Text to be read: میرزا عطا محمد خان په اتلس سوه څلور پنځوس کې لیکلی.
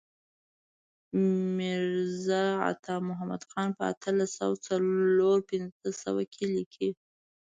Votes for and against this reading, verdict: 2, 0, accepted